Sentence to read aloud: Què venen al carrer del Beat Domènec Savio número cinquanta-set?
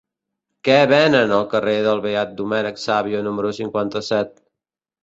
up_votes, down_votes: 4, 0